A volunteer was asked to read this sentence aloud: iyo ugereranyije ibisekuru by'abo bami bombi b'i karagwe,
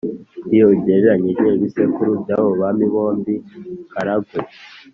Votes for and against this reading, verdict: 2, 0, accepted